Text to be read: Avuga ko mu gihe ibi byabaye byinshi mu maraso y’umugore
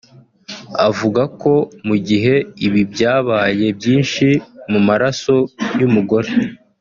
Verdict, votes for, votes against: accepted, 4, 0